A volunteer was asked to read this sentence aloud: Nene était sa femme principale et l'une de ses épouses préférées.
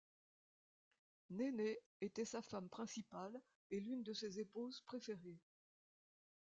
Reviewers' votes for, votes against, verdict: 1, 2, rejected